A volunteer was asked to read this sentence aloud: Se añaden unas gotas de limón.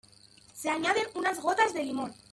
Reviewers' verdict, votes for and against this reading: rejected, 1, 2